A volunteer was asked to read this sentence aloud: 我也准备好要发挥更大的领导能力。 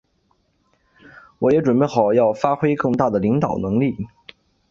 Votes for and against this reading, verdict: 3, 0, accepted